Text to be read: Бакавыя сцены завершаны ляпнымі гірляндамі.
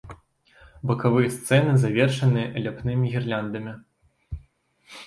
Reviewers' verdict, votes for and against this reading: rejected, 0, 2